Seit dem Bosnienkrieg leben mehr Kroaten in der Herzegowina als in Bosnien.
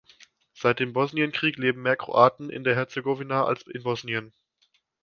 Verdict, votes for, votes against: accepted, 2, 0